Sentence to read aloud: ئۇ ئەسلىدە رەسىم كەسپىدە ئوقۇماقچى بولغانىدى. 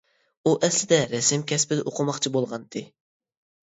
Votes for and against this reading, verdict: 0, 2, rejected